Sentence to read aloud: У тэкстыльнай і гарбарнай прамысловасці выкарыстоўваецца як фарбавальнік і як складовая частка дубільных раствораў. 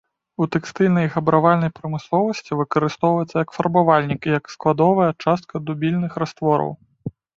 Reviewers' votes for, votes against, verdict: 0, 2, rejected